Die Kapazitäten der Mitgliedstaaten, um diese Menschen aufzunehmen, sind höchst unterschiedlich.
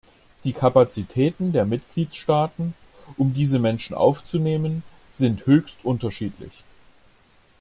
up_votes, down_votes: 2, 0